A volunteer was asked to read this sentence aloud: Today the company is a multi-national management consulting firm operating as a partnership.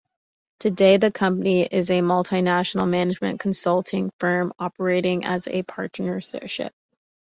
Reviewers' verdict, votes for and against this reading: accepted, 2, 0